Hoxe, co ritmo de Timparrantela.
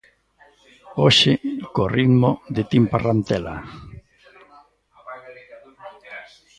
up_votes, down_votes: 1, 2